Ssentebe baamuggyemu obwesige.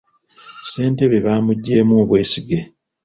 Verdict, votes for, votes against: rejected, 1, 2